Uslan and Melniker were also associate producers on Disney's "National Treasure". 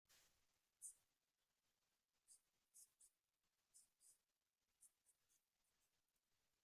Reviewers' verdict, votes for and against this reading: rejected, 0, 2